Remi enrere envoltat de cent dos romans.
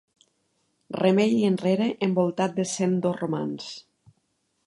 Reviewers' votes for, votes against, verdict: 1, 2, rejected